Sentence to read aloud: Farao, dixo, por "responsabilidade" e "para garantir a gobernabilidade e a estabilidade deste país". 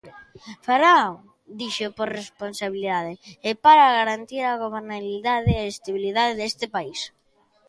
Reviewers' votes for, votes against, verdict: 1, 2, rejected